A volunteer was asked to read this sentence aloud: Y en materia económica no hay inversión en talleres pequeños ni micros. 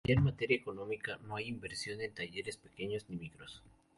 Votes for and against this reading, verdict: 0, 2, rejected